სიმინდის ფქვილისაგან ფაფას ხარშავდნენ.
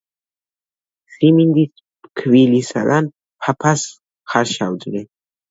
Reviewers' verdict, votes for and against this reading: rejected, 1, 2